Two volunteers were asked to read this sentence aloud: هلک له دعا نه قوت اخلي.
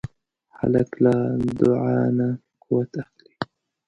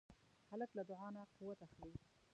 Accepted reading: first